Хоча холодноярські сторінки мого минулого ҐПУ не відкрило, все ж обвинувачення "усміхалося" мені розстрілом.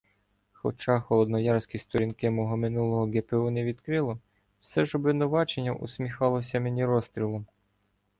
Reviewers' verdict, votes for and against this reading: rejected, 0, 2